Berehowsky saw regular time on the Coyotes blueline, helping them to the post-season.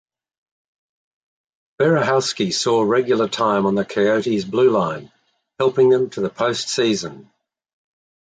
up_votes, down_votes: 2, 0